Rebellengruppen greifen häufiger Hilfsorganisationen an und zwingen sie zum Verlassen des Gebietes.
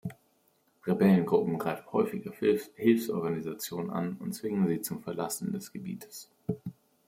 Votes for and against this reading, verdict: 1, 2, rejected